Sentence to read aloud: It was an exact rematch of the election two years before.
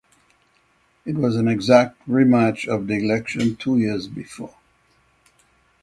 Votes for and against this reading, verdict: 6, 0, accepted